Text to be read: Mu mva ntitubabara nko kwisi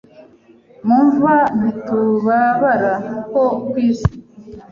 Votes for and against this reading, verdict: 1, 2, rejected